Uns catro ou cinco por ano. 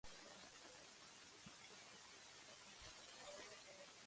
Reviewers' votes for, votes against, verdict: 0, 2, rejected